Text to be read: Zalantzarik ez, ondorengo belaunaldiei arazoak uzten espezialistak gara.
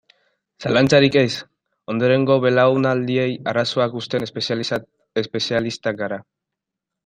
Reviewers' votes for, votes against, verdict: 0, 3, rejected